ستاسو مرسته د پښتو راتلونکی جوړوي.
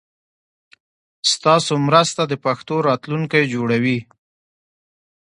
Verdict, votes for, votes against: accepted, 2, 0